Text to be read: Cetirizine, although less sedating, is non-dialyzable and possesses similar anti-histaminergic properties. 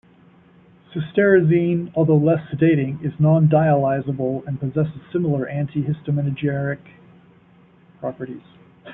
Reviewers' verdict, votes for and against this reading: rejected, 0, 2